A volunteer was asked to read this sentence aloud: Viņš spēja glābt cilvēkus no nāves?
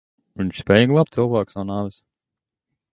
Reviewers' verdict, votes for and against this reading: rejected, 1, 2